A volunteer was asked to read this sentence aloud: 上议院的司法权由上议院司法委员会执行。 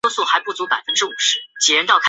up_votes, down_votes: 2, 3